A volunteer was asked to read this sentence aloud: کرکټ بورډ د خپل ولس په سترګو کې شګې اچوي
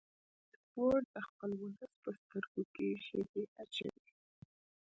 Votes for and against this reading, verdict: 1, 2, rejected